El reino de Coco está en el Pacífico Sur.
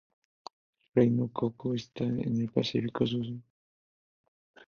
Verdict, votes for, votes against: rejected, 0, 2